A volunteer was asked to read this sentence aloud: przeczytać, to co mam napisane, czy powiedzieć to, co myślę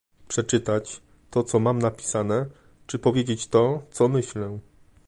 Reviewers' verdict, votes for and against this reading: accepted, 2, 0